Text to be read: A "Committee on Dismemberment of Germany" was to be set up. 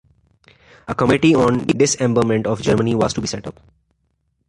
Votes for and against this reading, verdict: 1, 2, rejected